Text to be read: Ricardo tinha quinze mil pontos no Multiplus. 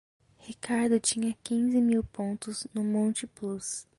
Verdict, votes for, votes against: rejected, 1, 2